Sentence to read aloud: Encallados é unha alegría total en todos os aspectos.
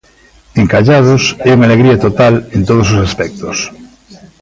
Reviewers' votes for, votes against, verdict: 1, 2, rejected